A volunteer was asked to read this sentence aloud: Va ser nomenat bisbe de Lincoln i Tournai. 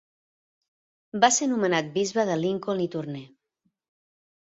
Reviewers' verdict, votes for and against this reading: accepted, 2, 0